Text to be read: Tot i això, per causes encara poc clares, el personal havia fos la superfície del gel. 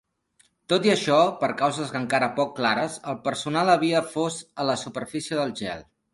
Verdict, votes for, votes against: rejected, 0, 2